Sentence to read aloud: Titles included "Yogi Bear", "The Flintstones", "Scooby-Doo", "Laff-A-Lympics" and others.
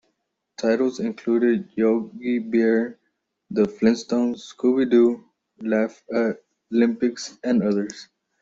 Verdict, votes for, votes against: accepted, 2, 0